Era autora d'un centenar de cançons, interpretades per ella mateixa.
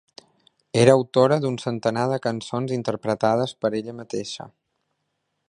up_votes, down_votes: 3, 0